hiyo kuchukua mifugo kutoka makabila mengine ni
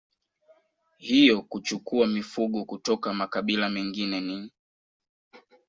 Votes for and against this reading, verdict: 1, 2, rejected